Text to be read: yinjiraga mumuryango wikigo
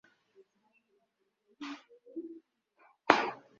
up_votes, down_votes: 0, 2